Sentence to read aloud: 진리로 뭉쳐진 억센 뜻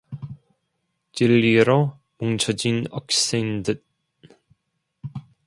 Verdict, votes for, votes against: accepted, 2, 0